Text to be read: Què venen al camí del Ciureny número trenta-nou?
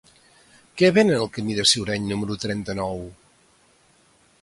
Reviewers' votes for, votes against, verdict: 2, 0, accepted